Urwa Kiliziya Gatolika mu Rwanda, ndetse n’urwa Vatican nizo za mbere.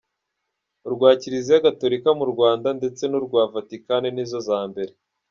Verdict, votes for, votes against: accepted, 2, 0